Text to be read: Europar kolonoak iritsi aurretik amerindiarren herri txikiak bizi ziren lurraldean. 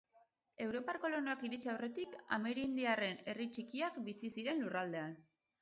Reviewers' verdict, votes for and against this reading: rejected, 2, 2